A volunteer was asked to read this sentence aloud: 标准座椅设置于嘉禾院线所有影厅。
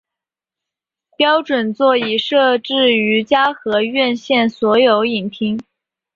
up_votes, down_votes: 3, 0